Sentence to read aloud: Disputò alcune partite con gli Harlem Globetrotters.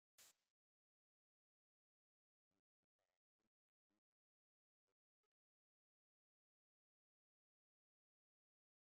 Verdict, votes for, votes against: rejected, 0, 3